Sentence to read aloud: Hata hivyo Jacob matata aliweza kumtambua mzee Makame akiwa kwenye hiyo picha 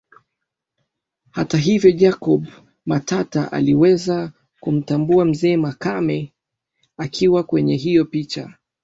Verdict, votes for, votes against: accepted, 2, 0